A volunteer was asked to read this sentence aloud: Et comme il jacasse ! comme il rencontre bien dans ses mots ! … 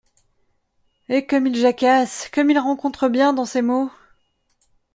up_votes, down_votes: 2, 0